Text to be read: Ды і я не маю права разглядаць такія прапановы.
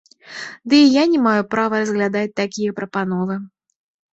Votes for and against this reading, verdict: 2, 0, accepted